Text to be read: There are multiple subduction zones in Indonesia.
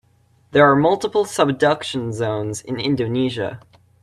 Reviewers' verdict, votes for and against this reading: accepted, 2, 0